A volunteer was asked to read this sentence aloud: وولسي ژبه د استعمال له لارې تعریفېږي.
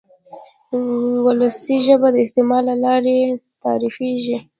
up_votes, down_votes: 2, 1